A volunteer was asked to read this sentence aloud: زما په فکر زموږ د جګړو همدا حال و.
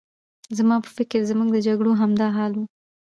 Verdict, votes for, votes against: rejected, 1, 2